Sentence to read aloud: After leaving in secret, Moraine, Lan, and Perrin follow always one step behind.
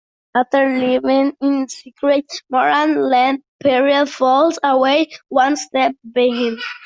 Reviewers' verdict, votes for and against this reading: rejected, 0, 2